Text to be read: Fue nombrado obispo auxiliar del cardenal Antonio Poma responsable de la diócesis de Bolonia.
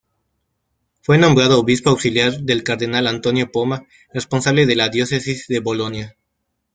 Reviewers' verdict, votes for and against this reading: accepted, 2, 0